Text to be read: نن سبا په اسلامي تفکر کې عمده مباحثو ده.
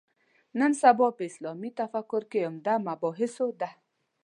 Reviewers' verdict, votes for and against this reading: accepted, 2, 0